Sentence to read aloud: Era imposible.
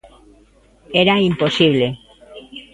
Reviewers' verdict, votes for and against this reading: accepted, 3, 0